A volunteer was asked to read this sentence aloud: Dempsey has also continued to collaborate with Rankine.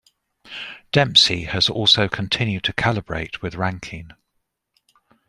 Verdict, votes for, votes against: rejected, 1, 2